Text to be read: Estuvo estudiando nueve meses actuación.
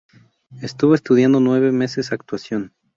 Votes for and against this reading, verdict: 0, 2, rejected